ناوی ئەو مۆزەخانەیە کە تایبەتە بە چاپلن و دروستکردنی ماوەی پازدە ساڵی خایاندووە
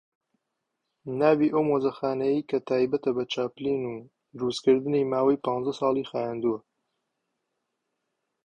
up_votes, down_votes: 1, 2